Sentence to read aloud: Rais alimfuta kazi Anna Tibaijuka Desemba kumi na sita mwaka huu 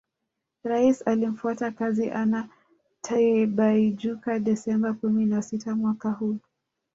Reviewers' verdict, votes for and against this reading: rejected, 3, 4